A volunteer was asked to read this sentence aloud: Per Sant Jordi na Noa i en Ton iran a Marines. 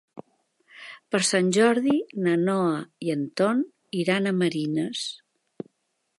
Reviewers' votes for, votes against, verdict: 3, 0, accepted